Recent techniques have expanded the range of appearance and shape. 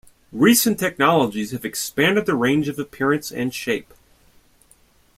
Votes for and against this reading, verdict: 0, 2, rejected